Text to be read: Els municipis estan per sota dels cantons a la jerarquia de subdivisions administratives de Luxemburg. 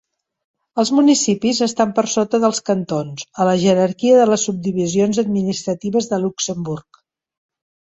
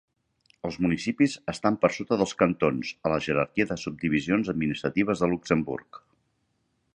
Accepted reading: second